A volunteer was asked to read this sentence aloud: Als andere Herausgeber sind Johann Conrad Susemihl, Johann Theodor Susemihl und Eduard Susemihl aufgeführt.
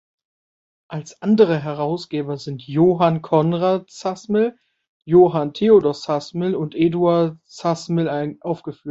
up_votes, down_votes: 0, 2